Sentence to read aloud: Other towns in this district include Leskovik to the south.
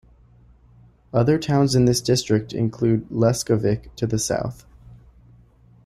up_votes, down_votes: 2, 0